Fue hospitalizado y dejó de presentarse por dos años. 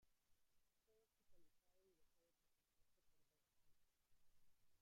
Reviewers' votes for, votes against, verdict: 0, 2, rejected